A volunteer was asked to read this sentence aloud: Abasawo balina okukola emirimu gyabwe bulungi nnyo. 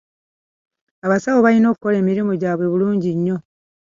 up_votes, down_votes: 2, 1